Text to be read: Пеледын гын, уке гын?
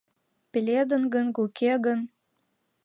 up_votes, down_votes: 2, 1